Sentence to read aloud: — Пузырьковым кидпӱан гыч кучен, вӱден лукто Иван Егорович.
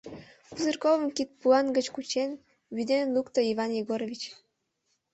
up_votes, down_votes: 0, 2